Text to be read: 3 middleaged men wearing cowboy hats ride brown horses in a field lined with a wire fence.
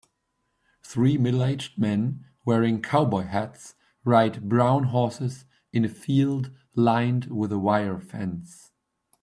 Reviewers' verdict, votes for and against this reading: rejected, 0, 2